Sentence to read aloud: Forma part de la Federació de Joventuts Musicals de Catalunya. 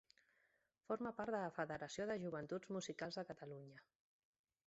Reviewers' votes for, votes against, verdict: 2, 0, accepted